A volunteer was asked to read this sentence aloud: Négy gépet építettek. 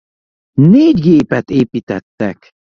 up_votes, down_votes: 2, 0